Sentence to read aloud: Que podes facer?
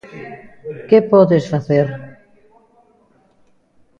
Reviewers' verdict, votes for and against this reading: rejected, 1, 2